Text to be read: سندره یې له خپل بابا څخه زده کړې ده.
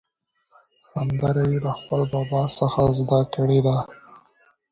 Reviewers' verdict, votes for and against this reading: accepted, 2, 0